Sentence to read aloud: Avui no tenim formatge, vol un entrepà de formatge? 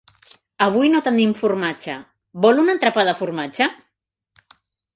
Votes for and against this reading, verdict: 2, 0, accepted